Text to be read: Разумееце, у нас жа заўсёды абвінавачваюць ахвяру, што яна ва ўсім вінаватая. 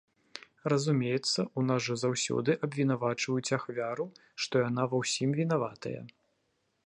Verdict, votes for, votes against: rejected, 0, 2